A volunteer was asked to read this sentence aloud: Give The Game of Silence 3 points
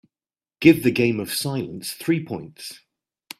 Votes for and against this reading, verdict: 0, 2, rejected